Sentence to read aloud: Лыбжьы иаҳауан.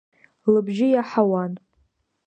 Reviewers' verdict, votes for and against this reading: accepted, 2, 0